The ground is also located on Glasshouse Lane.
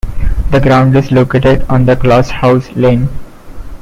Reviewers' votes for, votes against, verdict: 0, 2, rejected